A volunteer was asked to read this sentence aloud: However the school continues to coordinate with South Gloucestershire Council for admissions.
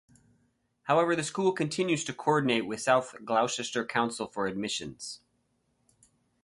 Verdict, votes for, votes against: rejected, 0, 2